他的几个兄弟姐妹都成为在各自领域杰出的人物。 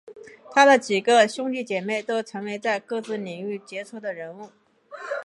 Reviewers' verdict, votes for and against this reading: accepted, 4, 0